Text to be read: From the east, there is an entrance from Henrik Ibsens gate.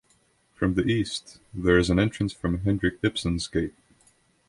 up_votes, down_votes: 2, 0